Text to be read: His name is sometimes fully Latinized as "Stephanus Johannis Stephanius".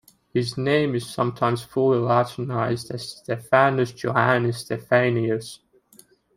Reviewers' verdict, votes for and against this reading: rejected, 1, 2